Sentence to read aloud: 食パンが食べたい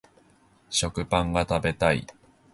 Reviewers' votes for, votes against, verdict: 2, 0, accepted